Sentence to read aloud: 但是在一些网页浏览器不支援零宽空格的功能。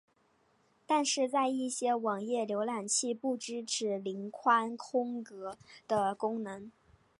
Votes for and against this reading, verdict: 2, 0, accepted